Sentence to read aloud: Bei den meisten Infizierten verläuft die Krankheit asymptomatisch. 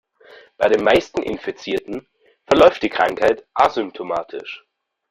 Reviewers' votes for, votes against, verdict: 1, 2, rejected